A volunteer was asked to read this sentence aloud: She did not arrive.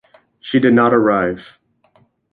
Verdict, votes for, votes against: accepted, 2, 0